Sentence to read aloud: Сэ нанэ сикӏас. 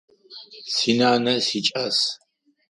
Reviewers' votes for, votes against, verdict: 0, 4, rejected